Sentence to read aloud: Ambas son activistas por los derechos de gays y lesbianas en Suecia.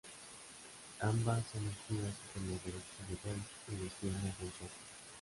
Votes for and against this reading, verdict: 0, 2, rejected